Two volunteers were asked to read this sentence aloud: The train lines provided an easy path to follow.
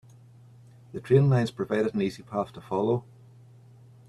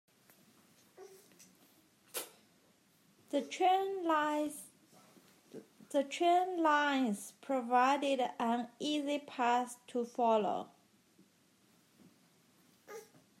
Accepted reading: first